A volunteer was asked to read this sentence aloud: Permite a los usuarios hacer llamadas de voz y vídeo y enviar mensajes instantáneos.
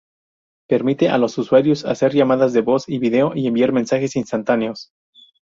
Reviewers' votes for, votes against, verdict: 0, 2, rejected